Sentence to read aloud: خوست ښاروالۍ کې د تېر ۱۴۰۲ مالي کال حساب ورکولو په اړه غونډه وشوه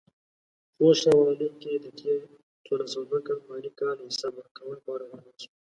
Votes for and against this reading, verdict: 0, 2, rejected